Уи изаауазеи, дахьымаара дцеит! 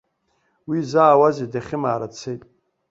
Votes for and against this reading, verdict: 2, 0, accepted